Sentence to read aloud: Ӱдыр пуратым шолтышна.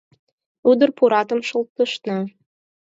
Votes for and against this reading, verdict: 6, 2, accepted